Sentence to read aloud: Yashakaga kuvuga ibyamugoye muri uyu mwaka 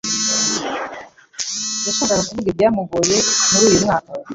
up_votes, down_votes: 1, 2